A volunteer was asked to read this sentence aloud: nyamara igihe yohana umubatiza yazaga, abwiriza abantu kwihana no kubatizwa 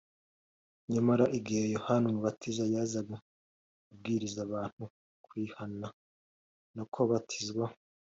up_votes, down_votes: 2, 0